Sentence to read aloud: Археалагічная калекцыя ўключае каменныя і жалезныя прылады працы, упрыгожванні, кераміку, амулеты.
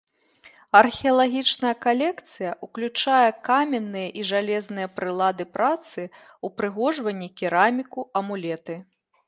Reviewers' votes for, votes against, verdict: 2, 0, accepted